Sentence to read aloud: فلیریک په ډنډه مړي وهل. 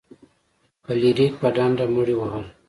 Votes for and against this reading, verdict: 2, 1, accepted